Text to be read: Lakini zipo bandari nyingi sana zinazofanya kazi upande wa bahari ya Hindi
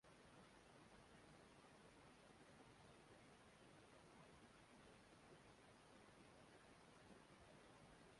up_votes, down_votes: 1, 2